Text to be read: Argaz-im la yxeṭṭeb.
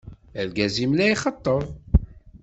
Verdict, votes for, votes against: accepted, 2, 1